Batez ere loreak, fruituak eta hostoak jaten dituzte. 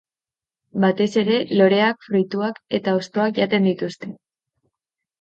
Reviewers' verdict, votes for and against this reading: accepted, 3, 0